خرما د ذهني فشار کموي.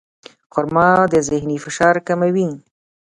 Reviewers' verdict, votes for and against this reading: accepted, 2, 0